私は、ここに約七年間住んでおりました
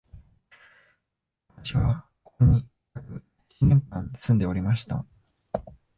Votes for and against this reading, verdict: 1, 3, rejected